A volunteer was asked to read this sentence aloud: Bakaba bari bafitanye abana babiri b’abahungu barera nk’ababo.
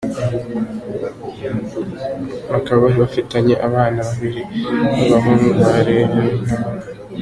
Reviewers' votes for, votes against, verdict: 1, 2, rejected